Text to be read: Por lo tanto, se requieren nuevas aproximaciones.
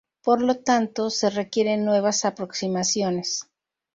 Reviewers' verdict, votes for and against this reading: accepted, 2, 0